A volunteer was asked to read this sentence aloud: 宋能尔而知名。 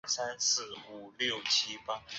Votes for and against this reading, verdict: 0, 5, rejected